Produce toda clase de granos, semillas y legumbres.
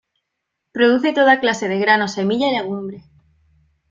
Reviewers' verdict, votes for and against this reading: rejected, 1, 2